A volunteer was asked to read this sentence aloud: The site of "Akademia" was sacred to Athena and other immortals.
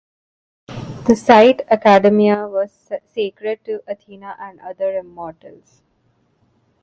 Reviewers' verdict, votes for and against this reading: rejected, 0, 2